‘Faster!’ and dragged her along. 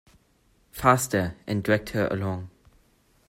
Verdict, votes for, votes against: accepted, 2, 0